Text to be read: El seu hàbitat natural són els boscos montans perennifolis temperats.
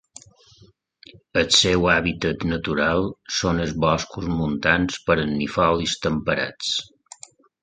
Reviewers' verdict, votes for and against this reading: accepted, 2, 1